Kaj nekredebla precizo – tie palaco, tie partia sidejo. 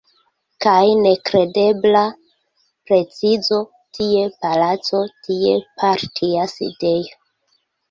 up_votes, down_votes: 0, 2